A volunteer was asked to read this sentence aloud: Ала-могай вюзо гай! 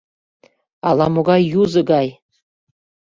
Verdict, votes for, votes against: rejected, 0, 2